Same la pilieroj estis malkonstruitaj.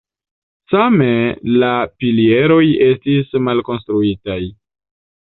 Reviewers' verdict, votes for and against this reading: rejected, 0, 2